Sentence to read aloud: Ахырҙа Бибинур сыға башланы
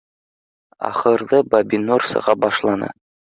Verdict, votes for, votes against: rejected, 0, 2